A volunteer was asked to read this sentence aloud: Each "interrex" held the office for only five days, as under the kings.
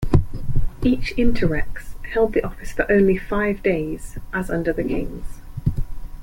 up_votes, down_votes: 2, 0